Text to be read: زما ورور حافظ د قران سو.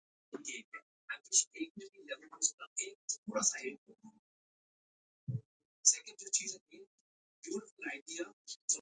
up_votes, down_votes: 0, 2